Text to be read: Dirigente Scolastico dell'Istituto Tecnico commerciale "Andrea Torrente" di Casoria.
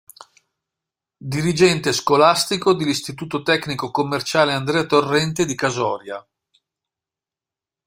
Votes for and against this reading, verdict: 2, 0, accepted